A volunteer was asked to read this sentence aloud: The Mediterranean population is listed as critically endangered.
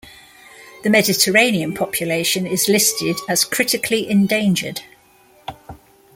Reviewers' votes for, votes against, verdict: 2, 0, accepted